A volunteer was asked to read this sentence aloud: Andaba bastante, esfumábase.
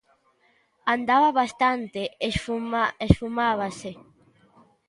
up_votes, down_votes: 1, 2